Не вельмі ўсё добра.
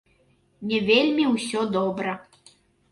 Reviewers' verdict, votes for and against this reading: accepted, 2, 0